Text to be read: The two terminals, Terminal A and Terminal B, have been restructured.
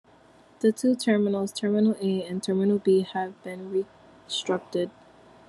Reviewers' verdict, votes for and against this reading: rejected, 0, 2